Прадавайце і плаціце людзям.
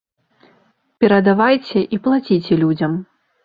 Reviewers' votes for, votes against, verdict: 1, 2, rejected